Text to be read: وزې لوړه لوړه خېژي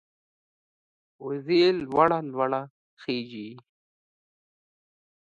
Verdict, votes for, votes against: accepted, 2, 0